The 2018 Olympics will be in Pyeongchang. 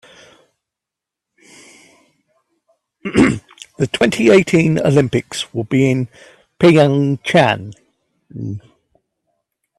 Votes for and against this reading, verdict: 0, 2, rejected